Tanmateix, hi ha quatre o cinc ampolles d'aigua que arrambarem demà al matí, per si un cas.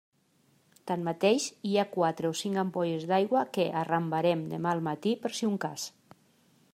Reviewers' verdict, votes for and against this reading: accepted, 2, 0